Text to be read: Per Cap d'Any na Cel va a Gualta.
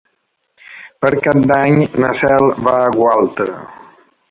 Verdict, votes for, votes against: rejected, 1, 2